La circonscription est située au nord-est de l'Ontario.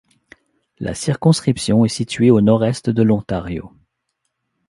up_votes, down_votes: 2, 0